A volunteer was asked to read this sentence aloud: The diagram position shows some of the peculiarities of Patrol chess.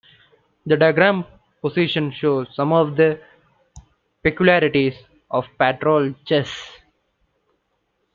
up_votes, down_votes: 0, 2